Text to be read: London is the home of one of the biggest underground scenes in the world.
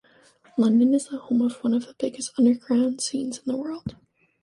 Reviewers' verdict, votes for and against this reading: accepted, 2, 0